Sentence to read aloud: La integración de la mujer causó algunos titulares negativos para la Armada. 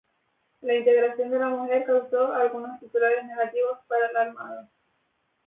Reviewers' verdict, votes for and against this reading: accepted, 4, 0